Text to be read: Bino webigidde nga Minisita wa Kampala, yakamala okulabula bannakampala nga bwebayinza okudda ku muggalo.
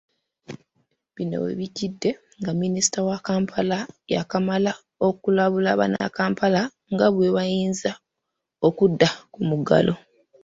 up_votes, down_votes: 1, 2